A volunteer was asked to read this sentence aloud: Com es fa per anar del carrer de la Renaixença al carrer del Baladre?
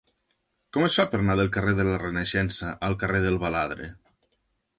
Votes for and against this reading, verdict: 1, 2, rejected